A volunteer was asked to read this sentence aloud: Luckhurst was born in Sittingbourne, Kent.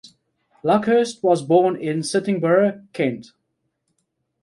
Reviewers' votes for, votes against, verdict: 1, 2, rejected